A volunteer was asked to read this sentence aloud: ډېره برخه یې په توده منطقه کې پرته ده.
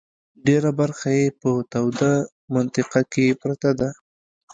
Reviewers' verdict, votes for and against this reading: accepted, 2, 0